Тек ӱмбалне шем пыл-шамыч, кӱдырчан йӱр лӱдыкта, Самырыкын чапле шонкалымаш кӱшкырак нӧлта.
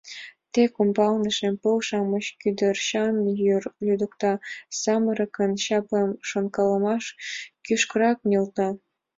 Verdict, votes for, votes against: accepted, 2, 1